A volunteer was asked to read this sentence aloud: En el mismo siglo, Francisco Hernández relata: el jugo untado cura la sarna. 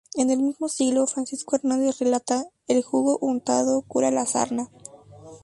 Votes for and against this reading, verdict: 2, 0, accepted